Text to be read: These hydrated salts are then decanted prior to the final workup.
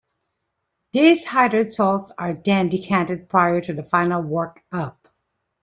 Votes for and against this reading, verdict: 1, 2, rejected